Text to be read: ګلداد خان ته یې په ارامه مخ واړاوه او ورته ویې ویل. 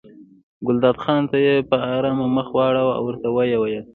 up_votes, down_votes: 2, 0